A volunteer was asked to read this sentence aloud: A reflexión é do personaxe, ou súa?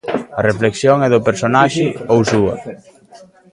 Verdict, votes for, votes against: rejected, 0, 2